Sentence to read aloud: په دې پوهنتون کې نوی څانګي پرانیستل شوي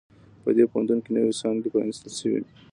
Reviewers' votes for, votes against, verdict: 2, 0, accepted